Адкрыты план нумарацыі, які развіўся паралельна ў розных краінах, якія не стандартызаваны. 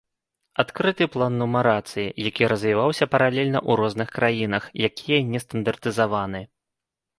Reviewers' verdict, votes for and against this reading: rejected, 1, 2